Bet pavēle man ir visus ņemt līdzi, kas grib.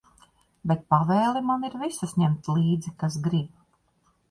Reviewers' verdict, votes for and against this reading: accepted, 2, 0